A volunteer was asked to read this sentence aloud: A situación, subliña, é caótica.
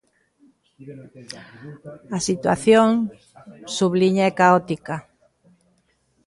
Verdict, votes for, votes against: rejected, 1, 2